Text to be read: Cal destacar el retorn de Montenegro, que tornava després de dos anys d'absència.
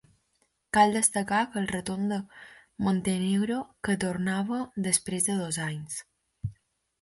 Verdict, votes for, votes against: rejected, 0, 2